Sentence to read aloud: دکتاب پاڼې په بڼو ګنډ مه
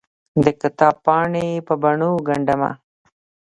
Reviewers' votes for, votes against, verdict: 0, 2, rejected